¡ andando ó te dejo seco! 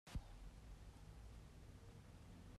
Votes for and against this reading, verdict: 0, 2, rejected